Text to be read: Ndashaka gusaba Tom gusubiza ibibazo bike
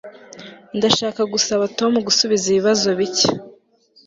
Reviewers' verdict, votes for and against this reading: accepted, 2, 1